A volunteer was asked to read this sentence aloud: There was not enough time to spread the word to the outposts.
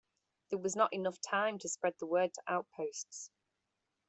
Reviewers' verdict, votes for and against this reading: rejected, 1, 2